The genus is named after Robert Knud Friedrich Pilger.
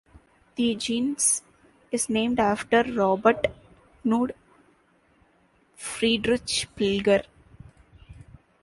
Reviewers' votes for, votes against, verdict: 1, 2, rejected